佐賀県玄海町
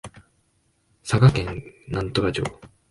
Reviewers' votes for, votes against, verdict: 0, 2, rejected